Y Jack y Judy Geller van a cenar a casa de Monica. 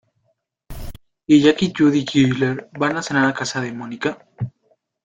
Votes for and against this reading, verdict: 1, 2, rejected